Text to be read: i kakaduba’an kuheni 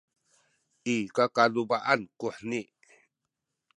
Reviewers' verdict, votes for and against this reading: accepted, 2, 0